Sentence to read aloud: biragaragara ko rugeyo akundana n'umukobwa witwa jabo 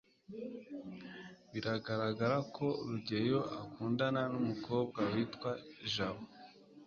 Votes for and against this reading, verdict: 2, 0, accepted